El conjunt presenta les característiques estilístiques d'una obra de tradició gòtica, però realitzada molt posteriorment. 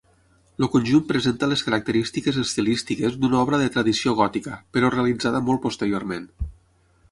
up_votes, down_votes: 6, 0